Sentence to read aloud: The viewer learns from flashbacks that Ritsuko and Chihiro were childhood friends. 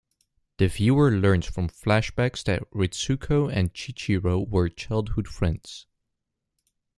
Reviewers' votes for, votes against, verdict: 0, 2, rejected